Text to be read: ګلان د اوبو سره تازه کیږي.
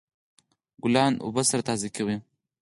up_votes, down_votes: 4, 0